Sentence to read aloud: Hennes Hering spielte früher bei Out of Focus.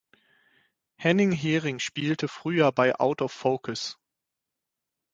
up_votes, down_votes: 0, 6